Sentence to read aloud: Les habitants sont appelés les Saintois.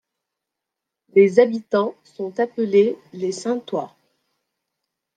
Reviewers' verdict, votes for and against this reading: accepted, 2, 1